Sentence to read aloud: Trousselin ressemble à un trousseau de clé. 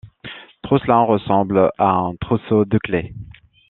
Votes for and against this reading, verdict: 1, 2, rejected